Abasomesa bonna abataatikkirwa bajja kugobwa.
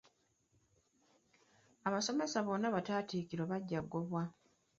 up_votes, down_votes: 1, 2